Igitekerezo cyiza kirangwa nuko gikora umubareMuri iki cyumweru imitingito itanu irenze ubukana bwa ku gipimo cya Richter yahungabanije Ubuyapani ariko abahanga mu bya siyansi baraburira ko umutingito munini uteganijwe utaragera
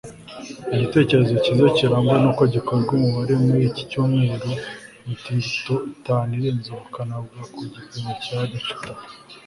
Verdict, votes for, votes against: rejected, 1, 2